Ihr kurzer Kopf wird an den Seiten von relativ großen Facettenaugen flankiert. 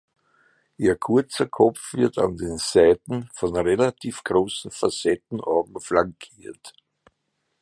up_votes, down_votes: 2, 0